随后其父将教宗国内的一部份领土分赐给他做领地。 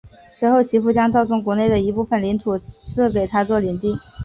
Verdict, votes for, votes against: accepted, 3, 0